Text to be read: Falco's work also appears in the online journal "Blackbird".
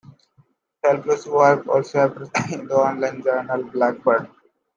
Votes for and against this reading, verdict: 0, 2, rejected